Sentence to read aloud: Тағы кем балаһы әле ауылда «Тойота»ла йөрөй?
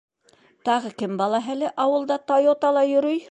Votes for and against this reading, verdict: 2, 0, accepted